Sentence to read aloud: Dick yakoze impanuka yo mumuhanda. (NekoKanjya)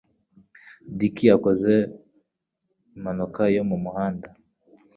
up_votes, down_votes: 0, 2